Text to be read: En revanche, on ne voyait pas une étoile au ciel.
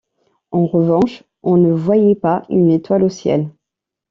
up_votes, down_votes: 2, 0